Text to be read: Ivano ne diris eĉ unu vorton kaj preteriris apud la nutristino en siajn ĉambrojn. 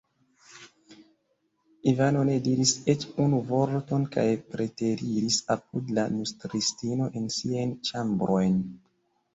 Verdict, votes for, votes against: rejected, 1, 2